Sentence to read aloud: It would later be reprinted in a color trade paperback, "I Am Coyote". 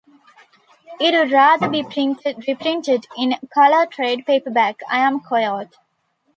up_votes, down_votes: 1, 2